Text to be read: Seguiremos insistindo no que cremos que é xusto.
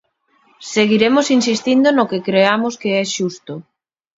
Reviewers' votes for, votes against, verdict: 1, 2, rejected